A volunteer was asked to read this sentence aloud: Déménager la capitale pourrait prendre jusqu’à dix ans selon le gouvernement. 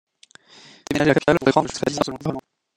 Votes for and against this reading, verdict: 0, 2, rejected